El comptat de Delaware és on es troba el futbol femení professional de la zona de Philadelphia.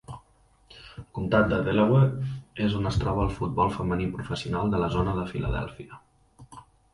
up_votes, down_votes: 1, 2